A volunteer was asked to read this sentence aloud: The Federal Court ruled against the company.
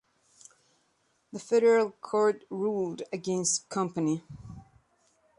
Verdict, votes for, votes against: rejected, 1, 2